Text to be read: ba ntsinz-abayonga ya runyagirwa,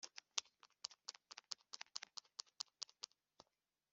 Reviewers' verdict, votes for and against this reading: rejected, 0, 2